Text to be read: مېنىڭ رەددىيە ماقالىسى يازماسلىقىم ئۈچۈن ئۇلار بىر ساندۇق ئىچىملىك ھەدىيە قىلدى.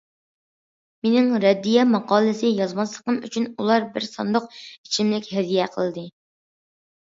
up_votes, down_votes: 2, 0